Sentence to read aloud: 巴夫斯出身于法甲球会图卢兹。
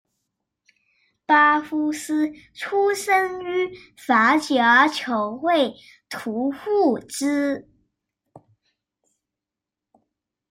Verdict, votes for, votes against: rejected, 0, 2